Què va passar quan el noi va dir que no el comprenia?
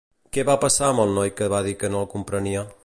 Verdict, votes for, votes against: rejected, 1, 2